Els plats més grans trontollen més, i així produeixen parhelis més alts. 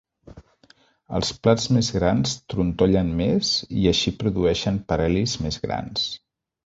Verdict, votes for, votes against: rejected, 0, 2